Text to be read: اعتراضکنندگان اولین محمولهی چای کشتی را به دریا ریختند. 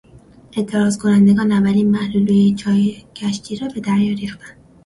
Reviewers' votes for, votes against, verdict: 0, 2, rejected